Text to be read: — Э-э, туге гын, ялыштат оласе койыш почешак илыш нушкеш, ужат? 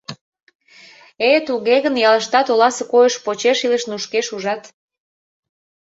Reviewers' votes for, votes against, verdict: 0, 2, rejected